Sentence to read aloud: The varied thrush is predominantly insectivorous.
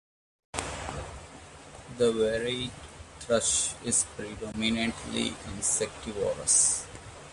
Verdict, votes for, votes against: rejected, 1, 2